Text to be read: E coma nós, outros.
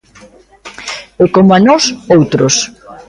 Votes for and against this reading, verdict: 2, 1, accepted